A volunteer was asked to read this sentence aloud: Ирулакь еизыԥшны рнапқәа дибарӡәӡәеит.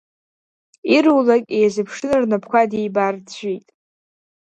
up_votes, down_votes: 2, 0